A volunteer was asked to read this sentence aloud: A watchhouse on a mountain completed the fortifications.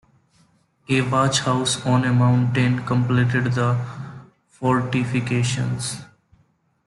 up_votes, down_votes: 1, 2